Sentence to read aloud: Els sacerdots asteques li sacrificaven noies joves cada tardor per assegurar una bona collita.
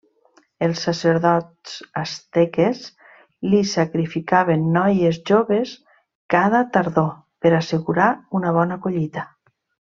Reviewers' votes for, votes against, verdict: 2, 0, accepted